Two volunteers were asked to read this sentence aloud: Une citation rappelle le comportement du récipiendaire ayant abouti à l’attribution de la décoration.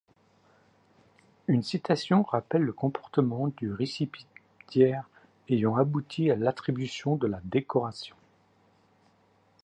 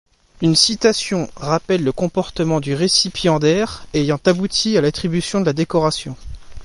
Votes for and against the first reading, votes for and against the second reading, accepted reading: 0, 2, 2, 0, second